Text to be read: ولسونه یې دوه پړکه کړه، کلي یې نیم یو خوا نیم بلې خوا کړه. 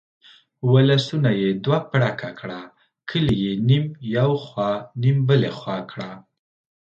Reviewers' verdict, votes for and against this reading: accepted, 2, 0